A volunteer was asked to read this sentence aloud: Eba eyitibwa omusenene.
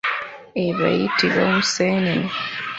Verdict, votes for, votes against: accepted, 3, 0